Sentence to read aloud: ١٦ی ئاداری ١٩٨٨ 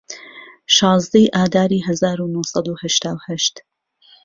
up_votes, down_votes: 0, 2